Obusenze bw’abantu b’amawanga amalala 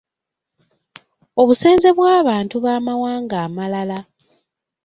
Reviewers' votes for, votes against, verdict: 2, 0, accepted